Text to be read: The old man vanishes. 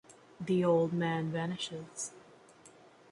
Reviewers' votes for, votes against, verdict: 2, 0, accepted